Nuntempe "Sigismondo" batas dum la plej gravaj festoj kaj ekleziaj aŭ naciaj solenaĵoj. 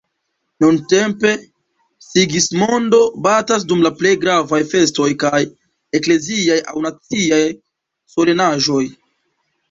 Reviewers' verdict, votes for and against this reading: accepted, 2, 1